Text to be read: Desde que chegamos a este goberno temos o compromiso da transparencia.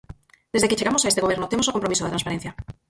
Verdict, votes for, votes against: rejected, 0, 4